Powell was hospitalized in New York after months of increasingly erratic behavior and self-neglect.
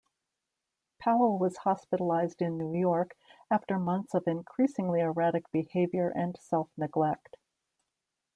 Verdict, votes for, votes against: accepted, 2, 0